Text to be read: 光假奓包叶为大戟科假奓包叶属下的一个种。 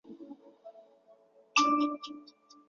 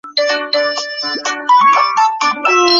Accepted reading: first